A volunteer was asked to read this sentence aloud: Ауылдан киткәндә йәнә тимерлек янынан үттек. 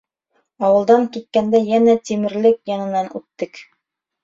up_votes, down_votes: 3, 0